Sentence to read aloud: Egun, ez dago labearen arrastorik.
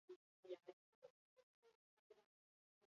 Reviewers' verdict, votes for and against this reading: rejected, 0, 10